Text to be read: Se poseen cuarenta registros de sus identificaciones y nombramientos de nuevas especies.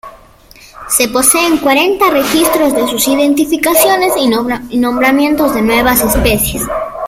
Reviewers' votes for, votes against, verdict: 1, 2, rejected